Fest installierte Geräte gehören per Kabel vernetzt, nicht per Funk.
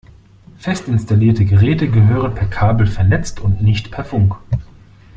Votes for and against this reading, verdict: 0, 2, rejected